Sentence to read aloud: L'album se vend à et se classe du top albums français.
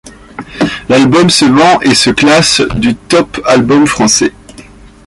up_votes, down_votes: 1, 2